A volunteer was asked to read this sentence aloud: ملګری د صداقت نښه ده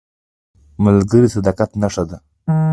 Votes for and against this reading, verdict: 2, 0, accepted